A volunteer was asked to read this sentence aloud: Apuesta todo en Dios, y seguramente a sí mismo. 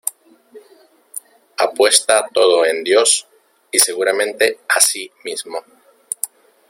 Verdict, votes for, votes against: accepted, 2, 1